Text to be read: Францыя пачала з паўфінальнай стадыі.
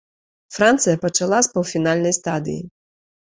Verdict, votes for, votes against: accepted, 3, 0